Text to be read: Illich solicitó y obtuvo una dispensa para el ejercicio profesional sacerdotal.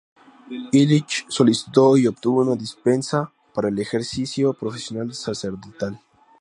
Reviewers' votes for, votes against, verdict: 4, 0, accepted